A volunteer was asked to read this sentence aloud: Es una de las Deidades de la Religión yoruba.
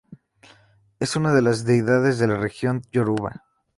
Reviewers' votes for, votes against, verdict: 4, 0, accepted